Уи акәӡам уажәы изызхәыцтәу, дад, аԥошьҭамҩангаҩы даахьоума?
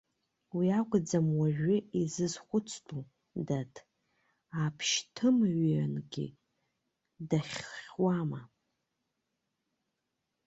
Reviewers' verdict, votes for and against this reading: rejected, 1, 2